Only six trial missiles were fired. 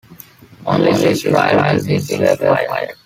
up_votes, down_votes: 0, 3